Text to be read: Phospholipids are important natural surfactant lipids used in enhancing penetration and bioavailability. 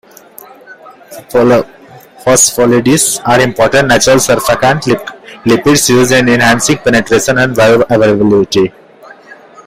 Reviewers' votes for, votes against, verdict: 1, 2, rejected